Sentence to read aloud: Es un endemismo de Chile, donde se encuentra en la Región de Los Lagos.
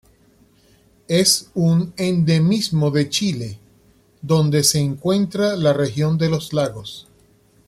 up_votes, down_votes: 0, 2